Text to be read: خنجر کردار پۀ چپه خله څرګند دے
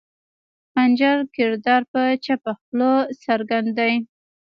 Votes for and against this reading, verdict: 2, 0, accepted